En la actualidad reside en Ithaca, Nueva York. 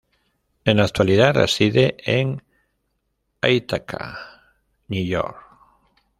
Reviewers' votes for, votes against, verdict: 1, 2, rejected